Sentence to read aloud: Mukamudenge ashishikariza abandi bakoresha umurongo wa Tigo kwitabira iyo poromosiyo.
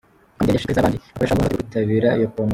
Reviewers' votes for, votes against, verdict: 0, 2, rejected